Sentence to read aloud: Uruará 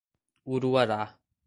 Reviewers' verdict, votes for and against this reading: accepted, 2, 0